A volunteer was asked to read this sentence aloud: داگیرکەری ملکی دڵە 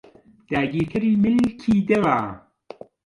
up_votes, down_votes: 2, 1